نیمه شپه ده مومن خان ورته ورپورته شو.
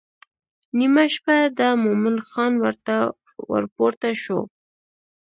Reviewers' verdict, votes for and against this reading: accepted, 2, 0